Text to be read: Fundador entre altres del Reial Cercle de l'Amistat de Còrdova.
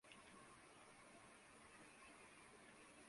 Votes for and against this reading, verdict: 0, 2, rejected